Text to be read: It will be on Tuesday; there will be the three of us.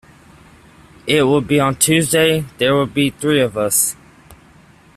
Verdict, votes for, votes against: rejected, 1, 2